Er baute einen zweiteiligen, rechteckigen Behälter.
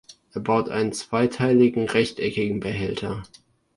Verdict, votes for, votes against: rejected, 0, 2